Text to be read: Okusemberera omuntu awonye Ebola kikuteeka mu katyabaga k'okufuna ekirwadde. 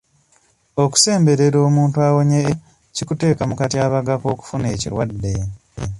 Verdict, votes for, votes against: rejected, 0, 2